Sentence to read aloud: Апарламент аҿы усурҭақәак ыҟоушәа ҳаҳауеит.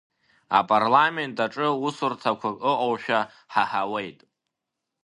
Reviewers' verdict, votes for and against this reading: accepted, 2, 0